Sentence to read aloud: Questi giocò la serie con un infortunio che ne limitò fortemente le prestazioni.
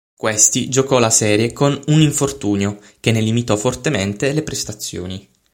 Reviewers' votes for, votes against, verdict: 6, 0, accepted